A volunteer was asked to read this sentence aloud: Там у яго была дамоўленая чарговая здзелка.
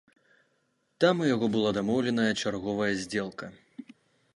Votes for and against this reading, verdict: 2, 0, accepted